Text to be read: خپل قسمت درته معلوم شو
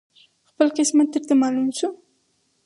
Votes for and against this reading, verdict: 0, 4, rejected